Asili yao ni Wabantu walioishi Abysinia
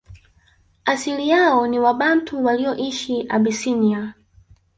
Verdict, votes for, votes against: rejected, 1, 3